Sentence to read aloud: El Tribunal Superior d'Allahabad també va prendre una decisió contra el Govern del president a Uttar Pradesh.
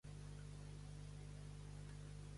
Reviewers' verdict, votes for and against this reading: rejected, 0, 2